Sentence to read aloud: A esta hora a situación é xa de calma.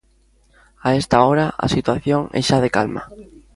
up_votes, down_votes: 2, 0